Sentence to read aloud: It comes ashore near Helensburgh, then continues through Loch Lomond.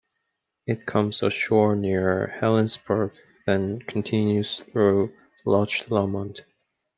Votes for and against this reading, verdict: 0, 2, rejected